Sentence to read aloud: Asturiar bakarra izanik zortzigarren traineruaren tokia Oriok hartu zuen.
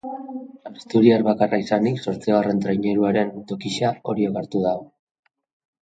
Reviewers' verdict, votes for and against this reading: rejected, 0, 2